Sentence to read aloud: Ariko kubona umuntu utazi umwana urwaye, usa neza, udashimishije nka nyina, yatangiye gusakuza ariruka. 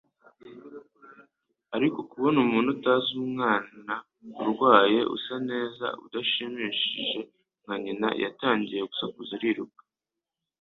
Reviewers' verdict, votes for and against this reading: accepted, 3, 0